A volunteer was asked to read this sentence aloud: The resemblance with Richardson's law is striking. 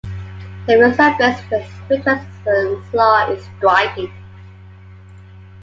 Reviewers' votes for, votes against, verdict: 1, 2, rejected